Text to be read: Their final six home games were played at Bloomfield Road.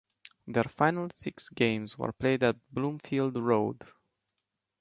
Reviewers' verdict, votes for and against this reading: rejected, 1, 2